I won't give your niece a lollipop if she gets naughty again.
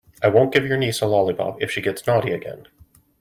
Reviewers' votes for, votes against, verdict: 2, 0, accepted